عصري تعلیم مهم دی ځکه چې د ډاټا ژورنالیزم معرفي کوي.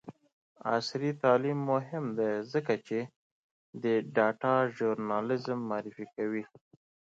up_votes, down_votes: 2, 0